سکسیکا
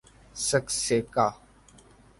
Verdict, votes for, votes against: accepted, 3, 0